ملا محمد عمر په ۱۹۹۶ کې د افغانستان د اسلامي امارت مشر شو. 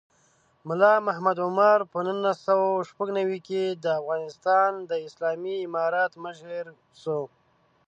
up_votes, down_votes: 0, 2